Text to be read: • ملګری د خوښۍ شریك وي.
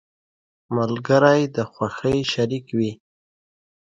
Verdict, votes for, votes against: accepted, 2, 0